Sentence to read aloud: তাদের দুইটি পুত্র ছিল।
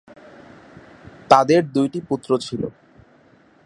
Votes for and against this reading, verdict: 16, 0, accepted